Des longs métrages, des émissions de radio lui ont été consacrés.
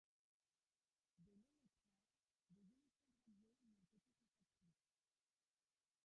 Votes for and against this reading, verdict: 0, 2, rejected